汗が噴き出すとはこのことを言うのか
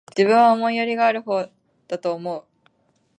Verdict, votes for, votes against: rejected, 1, 2